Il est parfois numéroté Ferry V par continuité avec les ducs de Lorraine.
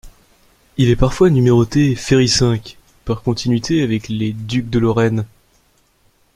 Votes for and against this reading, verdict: 2, 0, accepted